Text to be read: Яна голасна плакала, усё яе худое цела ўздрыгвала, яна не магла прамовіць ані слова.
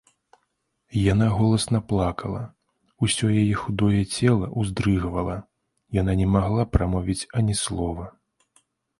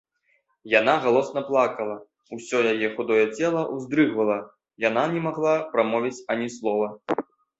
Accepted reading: first